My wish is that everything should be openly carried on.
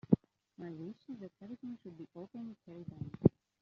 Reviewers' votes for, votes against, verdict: 0, 2, rejected